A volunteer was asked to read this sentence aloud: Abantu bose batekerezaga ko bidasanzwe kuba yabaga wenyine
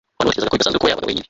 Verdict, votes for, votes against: rejected, 0, 2